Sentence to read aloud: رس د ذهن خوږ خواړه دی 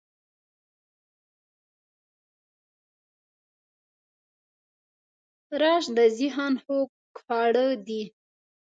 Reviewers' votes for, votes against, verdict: 1, 2, rejected